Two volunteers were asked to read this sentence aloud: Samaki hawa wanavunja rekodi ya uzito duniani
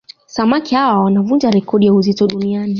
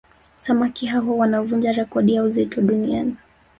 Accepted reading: first